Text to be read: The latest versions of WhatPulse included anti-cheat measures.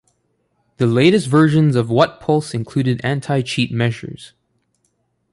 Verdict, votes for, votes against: rejected, 0, 2